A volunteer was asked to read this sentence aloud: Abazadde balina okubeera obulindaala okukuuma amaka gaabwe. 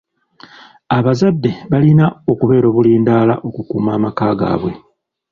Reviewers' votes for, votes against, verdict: 2, 0, accepted